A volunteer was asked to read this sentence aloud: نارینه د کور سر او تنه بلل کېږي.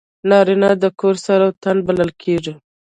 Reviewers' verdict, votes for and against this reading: rejected, 1, 2